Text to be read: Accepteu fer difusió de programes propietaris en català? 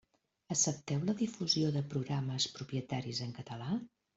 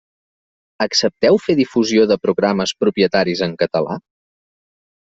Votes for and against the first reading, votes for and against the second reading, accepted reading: 0, 2, 3, 0, second